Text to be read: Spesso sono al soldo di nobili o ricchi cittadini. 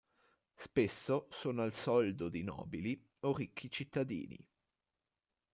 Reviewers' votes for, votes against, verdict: 1, 2, rejected